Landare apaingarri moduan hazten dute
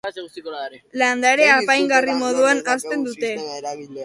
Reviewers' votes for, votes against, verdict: 2, 0, accepted